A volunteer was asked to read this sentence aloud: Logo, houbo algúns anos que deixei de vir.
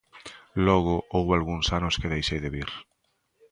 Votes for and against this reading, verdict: 2, 0, accepted